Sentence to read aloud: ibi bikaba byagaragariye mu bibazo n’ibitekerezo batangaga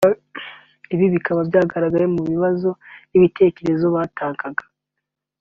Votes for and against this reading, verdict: 2, 0, accepted